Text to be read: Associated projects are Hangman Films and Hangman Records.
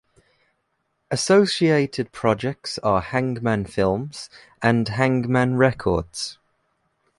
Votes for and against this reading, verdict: 1, 2, rejected